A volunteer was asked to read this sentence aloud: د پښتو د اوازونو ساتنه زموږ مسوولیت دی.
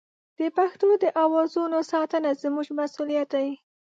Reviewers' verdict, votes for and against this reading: accepted, 3, 0